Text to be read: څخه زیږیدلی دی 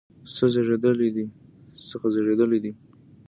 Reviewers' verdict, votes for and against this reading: rejected, 0, 2